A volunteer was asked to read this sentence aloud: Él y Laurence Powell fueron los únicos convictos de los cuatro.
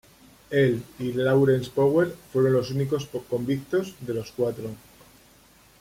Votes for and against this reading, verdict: 0, 2, rejected